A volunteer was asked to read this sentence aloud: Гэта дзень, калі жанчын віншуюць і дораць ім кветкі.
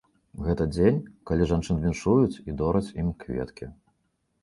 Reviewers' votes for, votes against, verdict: 3, 0, accepted